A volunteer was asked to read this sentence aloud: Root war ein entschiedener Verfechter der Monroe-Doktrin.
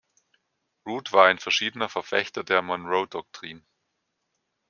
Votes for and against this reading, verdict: 0, 2, rejected